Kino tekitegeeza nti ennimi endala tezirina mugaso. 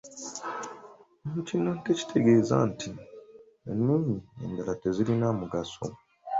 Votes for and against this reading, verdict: 2, 1, accepted